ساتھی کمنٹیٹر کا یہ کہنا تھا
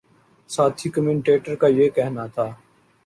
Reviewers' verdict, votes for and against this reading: accepted, 2, 1